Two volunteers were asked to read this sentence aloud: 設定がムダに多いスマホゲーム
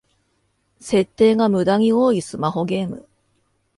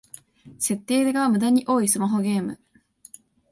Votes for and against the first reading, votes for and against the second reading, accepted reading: 2, 0, 0, 2, first